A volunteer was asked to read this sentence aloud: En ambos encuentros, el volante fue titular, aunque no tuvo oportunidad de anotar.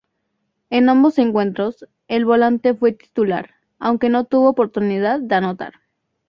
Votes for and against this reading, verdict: 6, 0, accepted